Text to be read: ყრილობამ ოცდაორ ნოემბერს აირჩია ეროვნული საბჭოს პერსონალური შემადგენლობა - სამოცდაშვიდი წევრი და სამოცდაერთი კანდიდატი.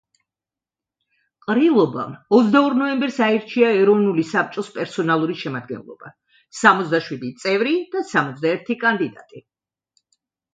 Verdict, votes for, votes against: accepted, 2, 1